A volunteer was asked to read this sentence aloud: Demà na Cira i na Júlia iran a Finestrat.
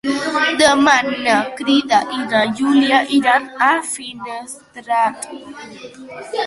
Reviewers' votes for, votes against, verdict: 2, 0, accepted